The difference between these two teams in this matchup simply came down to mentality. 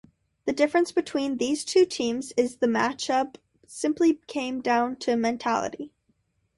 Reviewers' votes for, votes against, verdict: 2, 0, accepted